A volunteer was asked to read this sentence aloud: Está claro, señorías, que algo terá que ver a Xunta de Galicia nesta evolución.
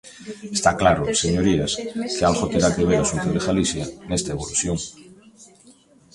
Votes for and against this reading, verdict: 0, 2, rejected